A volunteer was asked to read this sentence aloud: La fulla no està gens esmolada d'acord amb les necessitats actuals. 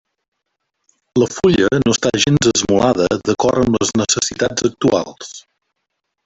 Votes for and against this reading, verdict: 0, 2, rejected